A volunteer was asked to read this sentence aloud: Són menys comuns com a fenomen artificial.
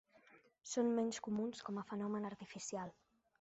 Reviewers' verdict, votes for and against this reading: accepted, 6, 0